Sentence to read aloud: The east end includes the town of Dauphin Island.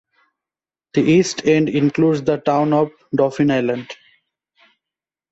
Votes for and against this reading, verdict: 2, 0, accepted